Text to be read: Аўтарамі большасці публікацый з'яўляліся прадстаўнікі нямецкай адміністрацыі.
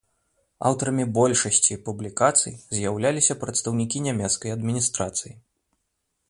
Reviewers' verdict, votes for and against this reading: accepted, 2, 0